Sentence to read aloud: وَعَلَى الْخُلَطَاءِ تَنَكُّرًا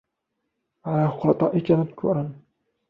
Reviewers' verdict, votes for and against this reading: accepted, 2, 1